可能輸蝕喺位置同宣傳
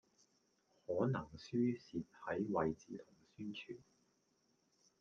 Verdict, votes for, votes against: rejected, 0, 2